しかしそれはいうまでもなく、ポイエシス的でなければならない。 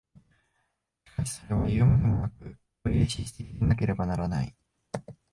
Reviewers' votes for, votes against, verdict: 1, 2, rejected